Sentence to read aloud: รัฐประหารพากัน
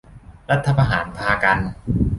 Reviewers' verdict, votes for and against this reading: rejected, 0, 2